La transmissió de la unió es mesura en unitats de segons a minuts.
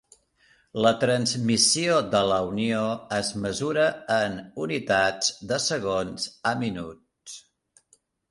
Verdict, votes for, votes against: accepted, 3, 0